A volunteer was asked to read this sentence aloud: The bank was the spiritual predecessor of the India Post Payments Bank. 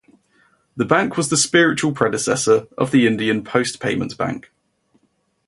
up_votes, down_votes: 0, 2